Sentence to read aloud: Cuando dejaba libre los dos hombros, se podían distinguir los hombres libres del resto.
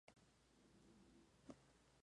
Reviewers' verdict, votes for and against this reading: rejected, 0, 2